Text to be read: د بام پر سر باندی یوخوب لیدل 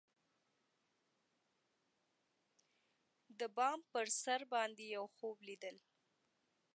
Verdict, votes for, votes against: accepted, 2, 1